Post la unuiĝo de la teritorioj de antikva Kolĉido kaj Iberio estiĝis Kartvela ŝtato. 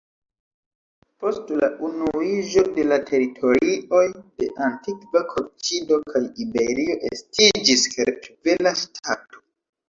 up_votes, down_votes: 1, 2